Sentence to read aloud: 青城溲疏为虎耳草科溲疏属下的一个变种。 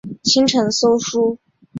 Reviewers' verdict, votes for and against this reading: accepted, 2, 1